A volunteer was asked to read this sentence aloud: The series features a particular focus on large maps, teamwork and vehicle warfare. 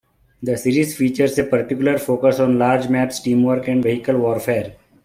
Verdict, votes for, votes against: rejected, 1, 2